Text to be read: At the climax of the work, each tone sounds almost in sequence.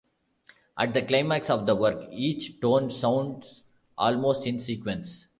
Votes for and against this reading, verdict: 2, 0, accepted